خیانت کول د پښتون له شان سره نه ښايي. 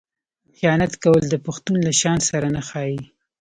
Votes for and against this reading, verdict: 3, 0, accepted